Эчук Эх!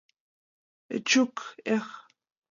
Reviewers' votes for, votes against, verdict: 2, 0, accepted